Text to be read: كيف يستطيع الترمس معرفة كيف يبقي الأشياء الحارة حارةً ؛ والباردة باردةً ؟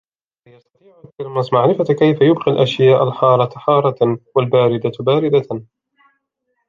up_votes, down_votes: 0, 2